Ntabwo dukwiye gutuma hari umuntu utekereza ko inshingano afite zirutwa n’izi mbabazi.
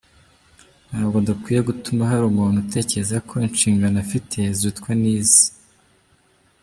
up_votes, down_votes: 0, 2